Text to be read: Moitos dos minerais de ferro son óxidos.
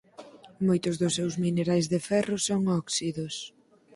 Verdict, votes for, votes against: rejected, 2, 4